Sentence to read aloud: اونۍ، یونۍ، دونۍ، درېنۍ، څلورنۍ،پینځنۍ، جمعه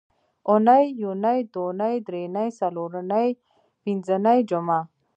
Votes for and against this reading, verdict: 0, 2, rejected